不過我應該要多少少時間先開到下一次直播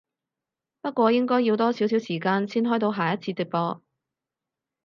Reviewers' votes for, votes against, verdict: 2, 2, rejected